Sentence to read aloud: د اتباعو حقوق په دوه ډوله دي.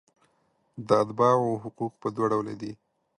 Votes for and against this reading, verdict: 2, 0, accepted